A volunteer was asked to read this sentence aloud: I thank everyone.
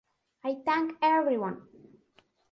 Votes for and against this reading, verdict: 2, 0, accepted